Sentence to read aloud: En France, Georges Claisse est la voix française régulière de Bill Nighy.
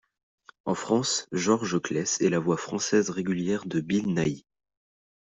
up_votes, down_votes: 2, 0